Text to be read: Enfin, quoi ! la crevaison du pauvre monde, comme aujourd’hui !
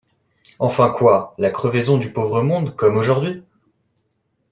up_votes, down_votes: 2, 0